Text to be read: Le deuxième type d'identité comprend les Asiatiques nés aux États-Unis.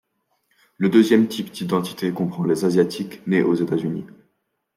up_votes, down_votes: 2, 0